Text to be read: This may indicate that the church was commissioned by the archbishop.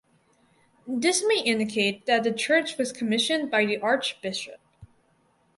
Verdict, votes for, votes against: accepted, 4, 0